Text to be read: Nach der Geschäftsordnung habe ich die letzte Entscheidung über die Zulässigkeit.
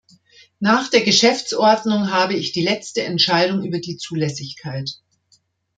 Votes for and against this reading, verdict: 2, 0, accepted